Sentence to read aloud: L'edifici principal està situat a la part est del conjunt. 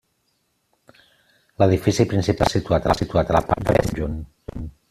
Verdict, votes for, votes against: rejected, 0, 2